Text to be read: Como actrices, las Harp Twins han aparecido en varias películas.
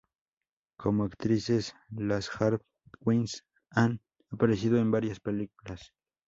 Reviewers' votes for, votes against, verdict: 2, 2, rejected